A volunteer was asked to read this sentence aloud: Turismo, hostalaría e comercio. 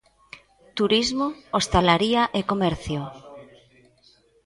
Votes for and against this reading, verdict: 1, 2, rejected